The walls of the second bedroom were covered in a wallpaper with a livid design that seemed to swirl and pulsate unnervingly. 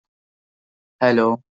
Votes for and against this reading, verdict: 0, 2, rejected